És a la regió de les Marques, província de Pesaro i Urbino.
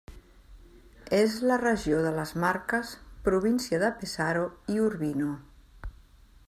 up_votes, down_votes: 1, 2